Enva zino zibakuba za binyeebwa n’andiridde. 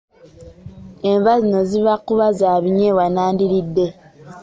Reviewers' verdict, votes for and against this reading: accepted, 4, 0